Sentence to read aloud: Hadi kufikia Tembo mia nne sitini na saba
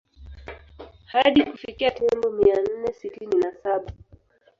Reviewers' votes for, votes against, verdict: 1, 2, rejected